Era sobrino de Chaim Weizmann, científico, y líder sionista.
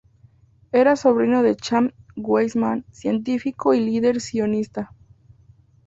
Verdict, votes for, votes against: accepted, 2, 0